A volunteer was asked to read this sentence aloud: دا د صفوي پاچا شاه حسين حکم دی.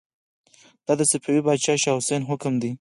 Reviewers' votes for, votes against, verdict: 4, 0, accepted